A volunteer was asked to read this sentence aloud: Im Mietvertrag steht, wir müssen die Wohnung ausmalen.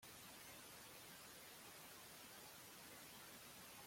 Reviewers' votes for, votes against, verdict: 0, 2, rejected